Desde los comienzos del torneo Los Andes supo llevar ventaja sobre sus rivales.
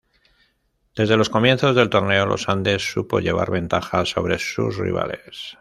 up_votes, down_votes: 2, 0